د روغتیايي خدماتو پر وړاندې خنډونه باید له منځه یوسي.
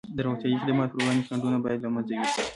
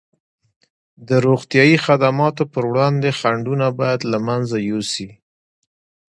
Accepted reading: second